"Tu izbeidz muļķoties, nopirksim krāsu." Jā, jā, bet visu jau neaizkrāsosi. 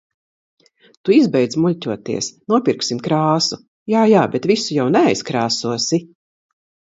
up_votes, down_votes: 2, 0